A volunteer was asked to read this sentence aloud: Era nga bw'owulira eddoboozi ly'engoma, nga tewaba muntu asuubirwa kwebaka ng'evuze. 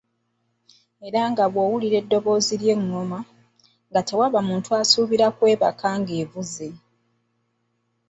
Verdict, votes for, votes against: rejected, 0, 2